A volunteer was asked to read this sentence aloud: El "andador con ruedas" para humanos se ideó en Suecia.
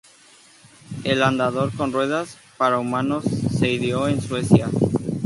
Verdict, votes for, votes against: accepted, 4, 0